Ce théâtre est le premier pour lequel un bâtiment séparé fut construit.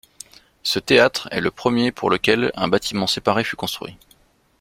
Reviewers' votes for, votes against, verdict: 2, 0, accepted